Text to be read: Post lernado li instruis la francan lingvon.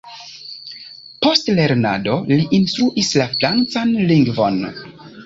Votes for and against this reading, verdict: 1, 2, rejected